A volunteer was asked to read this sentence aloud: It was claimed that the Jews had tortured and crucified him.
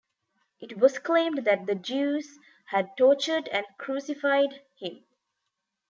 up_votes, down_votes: 2, 0